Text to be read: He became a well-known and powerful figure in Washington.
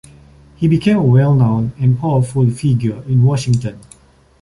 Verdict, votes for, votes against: accepted, 2, 0